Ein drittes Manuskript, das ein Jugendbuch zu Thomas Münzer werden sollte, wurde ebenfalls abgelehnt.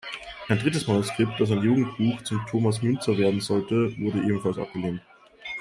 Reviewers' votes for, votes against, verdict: 0, 2, rejected